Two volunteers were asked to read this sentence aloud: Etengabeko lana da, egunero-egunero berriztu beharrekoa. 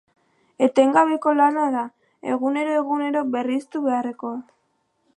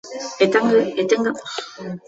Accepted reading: first